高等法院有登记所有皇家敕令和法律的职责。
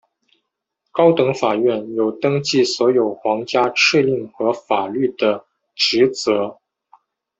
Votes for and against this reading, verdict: 2, 0, accepted